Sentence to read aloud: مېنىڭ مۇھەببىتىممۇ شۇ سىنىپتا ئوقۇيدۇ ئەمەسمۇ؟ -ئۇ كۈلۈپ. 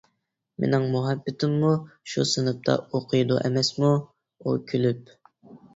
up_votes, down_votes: 2, 0